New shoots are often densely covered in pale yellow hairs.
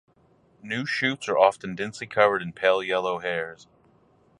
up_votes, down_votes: 2, 2